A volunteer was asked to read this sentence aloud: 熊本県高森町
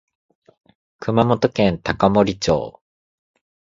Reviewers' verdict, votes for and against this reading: rejected, 0, 2